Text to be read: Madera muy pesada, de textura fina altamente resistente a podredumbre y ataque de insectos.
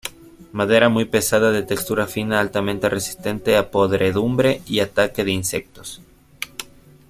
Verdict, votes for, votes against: accepted, 3, 0